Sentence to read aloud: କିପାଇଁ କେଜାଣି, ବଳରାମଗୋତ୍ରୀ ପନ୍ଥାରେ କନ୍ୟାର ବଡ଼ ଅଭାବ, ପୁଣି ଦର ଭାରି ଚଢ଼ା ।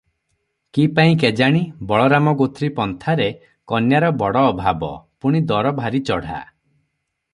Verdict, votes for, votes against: accepted, 3, 0